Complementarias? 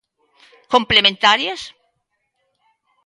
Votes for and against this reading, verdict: 2, 0, accepted